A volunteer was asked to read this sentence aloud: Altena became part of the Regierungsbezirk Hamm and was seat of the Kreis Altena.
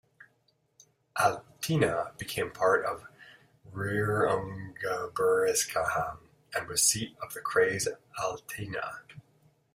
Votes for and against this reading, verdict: 0, 2, rejected